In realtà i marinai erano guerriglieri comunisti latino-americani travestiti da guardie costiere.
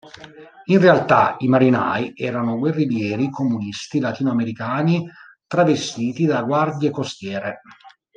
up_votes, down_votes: 2, 0